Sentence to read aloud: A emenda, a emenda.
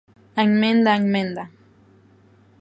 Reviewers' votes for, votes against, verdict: 1, 2, rejected